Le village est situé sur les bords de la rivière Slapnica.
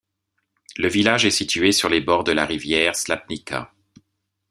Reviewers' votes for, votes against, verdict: 2, 0, accepted